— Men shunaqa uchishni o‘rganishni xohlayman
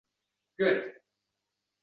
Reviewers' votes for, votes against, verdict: 0, 2, rejected